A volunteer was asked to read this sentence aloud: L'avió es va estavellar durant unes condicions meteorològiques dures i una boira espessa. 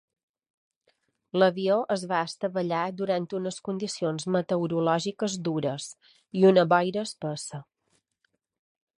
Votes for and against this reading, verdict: 2, 0, accepted